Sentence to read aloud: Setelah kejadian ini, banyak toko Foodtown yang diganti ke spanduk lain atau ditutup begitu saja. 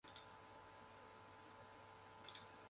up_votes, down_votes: 0, 2